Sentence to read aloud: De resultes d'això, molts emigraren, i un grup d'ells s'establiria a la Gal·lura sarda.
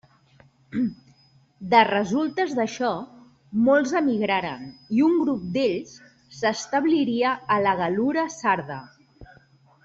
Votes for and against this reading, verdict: 3, 0, accepted